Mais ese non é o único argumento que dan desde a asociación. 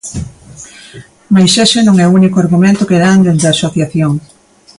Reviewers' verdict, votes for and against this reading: rejected, 0, 2